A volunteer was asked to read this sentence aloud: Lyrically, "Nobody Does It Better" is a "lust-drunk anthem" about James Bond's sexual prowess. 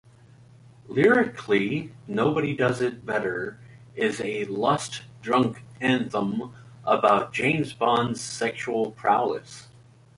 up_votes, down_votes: 2, 0